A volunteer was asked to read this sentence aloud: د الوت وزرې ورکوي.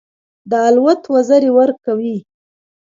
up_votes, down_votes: 2, 0